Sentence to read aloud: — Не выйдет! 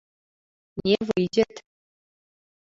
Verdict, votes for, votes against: rejected, 1, 2